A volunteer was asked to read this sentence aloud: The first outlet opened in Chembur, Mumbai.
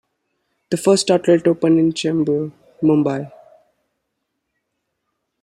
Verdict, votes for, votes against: accepted, 2, 0